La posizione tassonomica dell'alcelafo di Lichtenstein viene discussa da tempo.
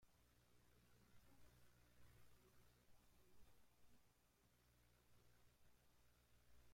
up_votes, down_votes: 0, 2